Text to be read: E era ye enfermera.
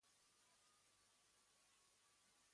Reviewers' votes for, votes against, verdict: 1, 2, rejected